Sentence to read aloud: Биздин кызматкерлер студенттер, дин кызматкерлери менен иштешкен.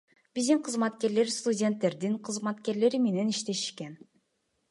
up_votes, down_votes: 1, 2